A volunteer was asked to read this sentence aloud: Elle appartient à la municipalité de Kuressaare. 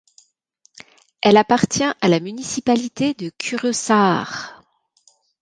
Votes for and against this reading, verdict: 2, 0, accepted